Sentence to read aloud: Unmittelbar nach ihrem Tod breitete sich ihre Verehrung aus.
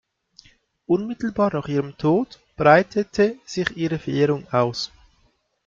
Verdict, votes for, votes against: accepted, 2, 0